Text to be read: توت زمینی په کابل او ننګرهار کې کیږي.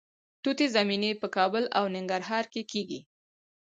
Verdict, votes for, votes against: rejected, 2, 2